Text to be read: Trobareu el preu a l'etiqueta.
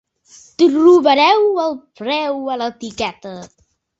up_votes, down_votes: 2, 0